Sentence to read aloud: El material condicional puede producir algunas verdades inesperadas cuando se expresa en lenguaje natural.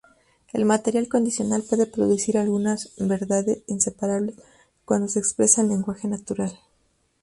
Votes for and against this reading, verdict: 0, 2, rejected